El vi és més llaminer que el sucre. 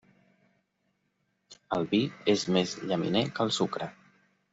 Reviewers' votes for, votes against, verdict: 3, 0, accepted